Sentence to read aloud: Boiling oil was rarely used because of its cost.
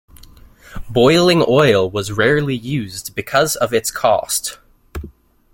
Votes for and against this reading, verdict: 2, 0, accepted